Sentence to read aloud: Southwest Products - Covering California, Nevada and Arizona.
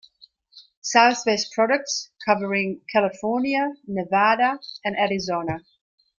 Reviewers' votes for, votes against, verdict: 1, 2, rejected